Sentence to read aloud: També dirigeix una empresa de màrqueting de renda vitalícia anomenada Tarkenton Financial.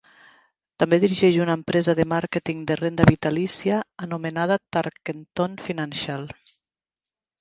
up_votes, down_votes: 5, 0